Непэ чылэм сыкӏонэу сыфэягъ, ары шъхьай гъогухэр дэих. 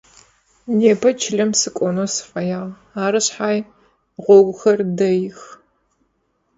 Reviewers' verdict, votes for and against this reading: accepted, 4, 0